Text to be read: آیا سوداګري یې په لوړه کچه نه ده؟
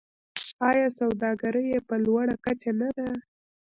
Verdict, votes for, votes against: rejected, 1, 2